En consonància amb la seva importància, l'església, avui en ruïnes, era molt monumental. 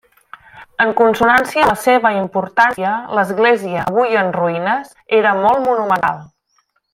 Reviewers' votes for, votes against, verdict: 0, 2, rejected